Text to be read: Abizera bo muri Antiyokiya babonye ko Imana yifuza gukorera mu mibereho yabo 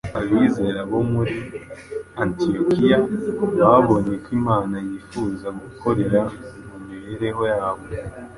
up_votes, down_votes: 2, 0